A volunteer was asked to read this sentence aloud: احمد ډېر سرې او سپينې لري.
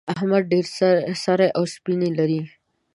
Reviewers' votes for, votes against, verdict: 2, 0, accepted